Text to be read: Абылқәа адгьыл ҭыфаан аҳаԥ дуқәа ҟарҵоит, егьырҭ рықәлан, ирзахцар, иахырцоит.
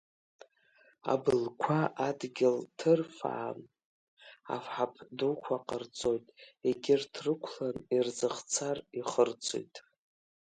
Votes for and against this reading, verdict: 1, 2, rejected